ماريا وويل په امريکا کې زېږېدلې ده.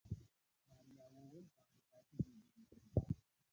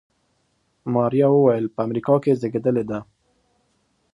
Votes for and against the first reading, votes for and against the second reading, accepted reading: 0, 2, 2, 0, second